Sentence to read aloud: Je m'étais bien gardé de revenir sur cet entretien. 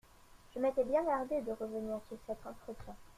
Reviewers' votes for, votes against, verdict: 2, 0, accepted